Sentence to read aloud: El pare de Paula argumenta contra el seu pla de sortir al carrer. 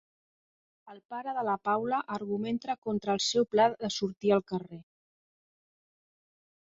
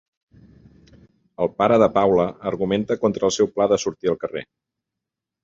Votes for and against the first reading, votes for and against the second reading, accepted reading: 0, 2, 3, 0, second